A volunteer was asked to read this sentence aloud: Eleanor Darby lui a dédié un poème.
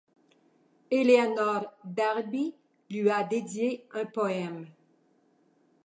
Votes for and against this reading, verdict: 2, 0, accepted